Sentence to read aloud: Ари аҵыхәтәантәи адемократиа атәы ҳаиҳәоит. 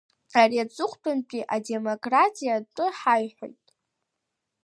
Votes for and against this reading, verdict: 2, 0, accepted